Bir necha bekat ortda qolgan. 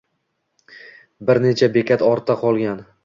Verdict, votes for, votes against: accepted, 2, 0